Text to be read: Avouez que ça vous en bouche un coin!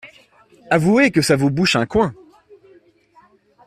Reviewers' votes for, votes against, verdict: 0, 2, rejected